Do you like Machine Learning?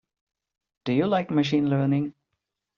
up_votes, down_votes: 2, 0